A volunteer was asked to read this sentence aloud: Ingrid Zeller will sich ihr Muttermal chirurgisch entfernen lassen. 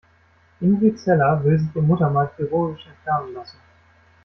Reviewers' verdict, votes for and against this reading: rejected, 0, 2